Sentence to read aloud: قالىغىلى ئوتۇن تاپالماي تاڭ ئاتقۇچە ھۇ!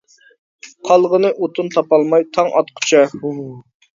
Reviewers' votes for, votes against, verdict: 1, 2, rejected